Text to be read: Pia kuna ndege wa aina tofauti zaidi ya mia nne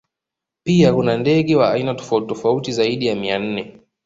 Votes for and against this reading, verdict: 1, 2, rejected